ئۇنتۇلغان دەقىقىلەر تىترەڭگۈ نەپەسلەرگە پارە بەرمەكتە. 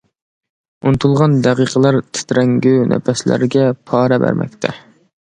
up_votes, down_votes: 2, 0